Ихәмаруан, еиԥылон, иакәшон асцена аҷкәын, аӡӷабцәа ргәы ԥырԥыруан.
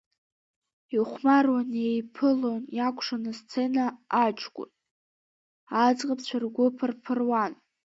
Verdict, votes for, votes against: rejected, 1, 2